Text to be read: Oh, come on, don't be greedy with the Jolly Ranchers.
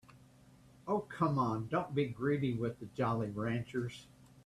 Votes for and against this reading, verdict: 3, 0, accepted